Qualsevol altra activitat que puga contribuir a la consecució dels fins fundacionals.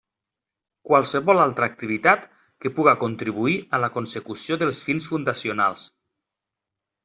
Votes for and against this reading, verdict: 3, 0, accepted